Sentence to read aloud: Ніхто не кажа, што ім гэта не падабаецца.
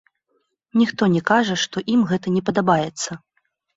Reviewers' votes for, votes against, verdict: 0, 2, rejected